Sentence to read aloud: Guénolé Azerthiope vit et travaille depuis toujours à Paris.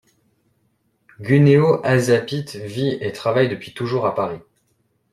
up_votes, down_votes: 1, 2